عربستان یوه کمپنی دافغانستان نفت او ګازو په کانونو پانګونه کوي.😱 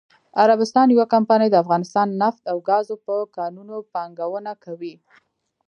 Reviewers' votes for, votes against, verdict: 2, 0, accepted